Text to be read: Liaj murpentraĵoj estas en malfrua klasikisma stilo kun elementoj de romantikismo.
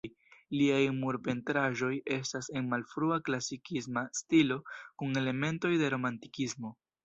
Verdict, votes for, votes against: accepted, 2, 1